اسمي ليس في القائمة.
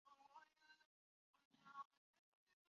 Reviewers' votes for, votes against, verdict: 0, 3, rejected